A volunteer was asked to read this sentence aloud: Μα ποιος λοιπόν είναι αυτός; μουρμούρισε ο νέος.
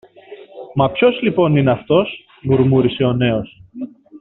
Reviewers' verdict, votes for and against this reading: accepted, 2, 0